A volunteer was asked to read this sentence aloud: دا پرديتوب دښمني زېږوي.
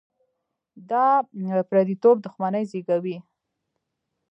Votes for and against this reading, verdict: 2, 1, accepted